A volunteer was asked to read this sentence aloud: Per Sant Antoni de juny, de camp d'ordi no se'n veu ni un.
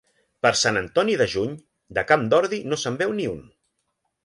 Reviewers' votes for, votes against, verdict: 2, 0, accepted